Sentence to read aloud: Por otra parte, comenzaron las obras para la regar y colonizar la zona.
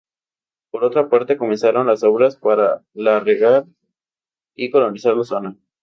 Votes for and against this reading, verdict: 2, 0, accepted